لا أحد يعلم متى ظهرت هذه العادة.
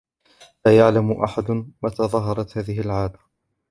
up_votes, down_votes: 2, 3